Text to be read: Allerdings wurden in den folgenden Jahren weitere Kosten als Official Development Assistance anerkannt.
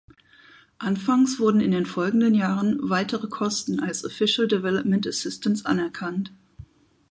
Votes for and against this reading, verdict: 0, 4, rejected